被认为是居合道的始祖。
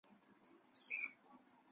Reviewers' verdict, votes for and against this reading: rejected, 1, 3